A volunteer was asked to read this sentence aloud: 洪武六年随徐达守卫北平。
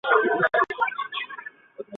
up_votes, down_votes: 0, 2